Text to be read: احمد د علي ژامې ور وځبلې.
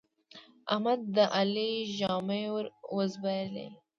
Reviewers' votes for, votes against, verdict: 1, 2, rejected